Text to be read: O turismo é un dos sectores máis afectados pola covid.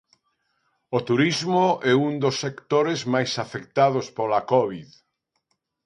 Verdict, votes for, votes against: accepted, 2, 0